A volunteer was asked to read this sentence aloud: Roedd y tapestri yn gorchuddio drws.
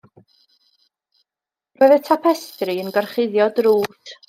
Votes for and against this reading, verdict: 0, 2, rejected